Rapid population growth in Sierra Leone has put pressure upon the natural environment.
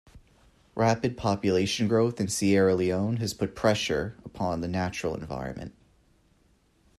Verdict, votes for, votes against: accepted, 2, 0